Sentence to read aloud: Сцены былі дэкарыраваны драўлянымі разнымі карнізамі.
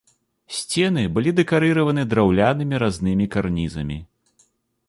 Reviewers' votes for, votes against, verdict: 2, 0, accepted